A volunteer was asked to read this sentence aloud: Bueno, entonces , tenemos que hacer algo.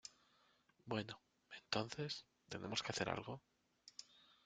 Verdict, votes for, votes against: rejected, 0, 2